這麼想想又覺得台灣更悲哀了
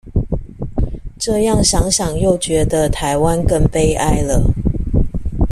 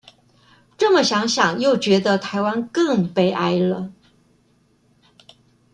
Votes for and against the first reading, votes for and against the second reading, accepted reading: 1, 2, 2, 0, second